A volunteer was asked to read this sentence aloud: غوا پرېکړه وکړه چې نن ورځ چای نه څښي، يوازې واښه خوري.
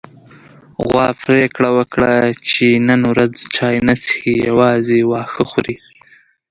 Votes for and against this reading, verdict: 1, 2, rejected